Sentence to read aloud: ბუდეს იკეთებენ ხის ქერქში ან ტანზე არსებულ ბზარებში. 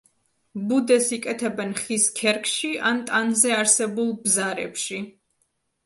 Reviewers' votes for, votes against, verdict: 2, 0, accepted